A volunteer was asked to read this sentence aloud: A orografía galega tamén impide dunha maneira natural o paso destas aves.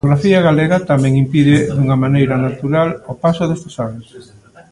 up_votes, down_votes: 1, 2